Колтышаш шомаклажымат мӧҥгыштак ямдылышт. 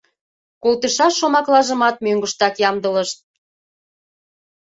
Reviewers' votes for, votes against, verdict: 2, 0, accepted